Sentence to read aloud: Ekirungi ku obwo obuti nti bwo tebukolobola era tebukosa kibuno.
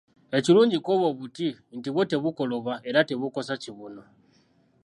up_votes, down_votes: 1, 2